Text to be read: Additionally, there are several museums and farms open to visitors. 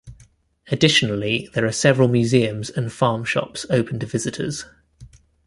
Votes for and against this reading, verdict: 0, 2, rejected